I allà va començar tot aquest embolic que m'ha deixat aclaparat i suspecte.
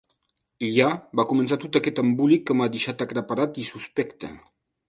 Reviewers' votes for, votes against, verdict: 1, 2, rejected